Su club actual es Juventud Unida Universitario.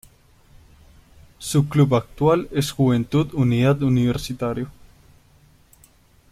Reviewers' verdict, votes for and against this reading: rejected, 1, 2